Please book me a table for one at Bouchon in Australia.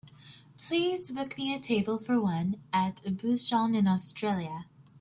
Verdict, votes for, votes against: accepted, 2, 0